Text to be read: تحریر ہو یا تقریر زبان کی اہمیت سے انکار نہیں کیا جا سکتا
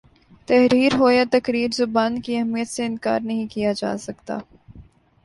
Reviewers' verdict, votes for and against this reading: accepted, 4, 1